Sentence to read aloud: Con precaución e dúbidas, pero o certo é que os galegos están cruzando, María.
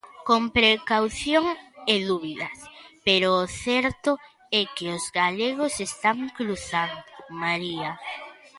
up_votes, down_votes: 0, 2